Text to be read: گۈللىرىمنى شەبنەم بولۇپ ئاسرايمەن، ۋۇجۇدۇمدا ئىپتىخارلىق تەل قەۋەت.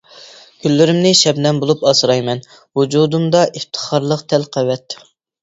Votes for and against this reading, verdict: 2, 0, accepted